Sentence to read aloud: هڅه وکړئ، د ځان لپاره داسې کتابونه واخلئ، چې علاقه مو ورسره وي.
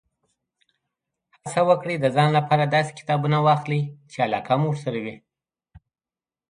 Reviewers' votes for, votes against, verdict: 2, 0, accepted